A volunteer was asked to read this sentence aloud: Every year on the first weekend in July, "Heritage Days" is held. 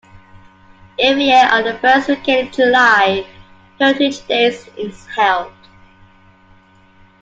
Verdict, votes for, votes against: accepted, 2, 1